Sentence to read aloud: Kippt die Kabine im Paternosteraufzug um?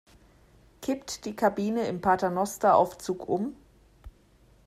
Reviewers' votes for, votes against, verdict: 2, 0, accepted